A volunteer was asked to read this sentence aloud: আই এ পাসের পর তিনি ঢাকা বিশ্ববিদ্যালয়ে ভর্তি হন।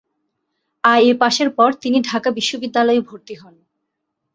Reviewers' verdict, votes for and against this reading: accepted, 2, 0